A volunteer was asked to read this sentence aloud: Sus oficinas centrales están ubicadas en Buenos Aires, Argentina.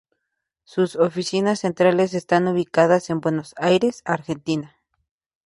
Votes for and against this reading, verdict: 2, 0, accepted